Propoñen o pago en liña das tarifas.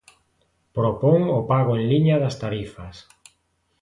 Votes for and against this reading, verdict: 0, 2, rejected